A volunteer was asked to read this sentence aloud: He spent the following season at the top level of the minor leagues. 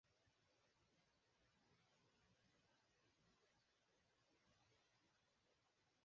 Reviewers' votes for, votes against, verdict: 0, 4, rejected